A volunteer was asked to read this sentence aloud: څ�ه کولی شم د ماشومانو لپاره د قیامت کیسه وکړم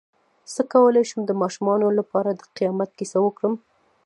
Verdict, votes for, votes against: rejected, 1, 2